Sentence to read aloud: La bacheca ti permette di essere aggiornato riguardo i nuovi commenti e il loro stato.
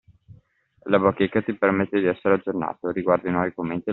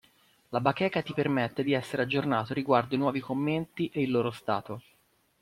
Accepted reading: second